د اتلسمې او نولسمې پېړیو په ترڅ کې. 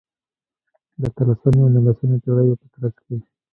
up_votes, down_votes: 2, 0